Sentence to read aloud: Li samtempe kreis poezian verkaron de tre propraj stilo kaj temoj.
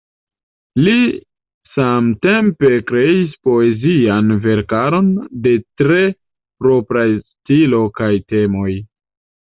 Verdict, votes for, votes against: rejected, 1, 2